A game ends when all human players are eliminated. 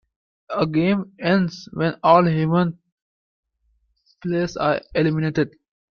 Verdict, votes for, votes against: accepted, 2, 0